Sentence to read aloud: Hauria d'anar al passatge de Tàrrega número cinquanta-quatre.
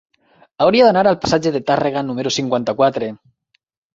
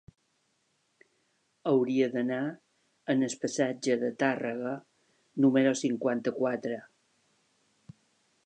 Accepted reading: first